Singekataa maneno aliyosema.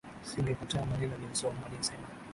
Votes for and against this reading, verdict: 0, 2, rejected